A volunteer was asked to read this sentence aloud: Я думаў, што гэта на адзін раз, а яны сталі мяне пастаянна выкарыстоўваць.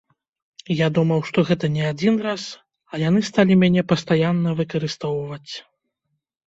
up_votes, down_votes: 1, 2